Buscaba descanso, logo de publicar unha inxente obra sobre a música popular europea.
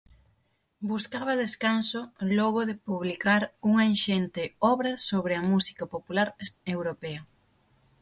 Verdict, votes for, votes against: accepted, 6, 3